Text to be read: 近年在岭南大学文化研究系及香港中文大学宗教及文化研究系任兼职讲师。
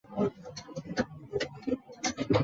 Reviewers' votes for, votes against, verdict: 0, 2, rejected